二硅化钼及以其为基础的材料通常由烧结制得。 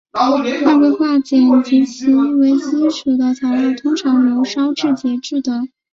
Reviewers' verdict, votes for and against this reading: rejected, 2, 3